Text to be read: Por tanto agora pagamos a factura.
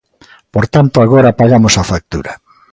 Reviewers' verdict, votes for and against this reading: accepted, 2, 0